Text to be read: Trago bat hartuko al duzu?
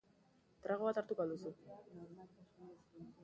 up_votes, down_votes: 2, 0